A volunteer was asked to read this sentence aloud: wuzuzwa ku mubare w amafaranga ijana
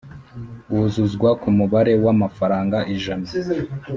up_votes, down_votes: 3, 0